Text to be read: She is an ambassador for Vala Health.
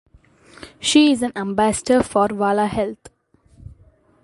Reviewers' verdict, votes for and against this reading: accepted, 2, 0